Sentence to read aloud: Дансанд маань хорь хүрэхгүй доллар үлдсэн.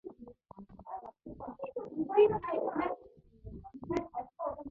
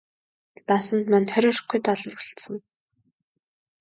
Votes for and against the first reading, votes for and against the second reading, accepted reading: 0, 2, 2, 0, second